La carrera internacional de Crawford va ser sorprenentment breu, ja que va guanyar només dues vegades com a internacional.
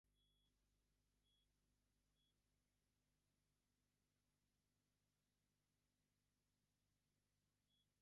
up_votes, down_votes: 2, 0